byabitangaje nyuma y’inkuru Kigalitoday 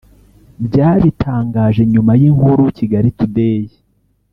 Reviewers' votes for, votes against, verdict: 1, 2, rejected